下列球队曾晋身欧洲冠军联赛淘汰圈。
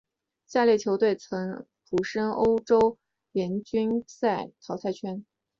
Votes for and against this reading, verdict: 2, 1, accepted